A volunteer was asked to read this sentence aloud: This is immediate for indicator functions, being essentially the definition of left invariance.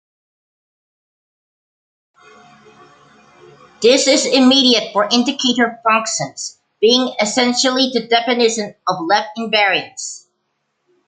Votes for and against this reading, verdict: 2, 0, accepted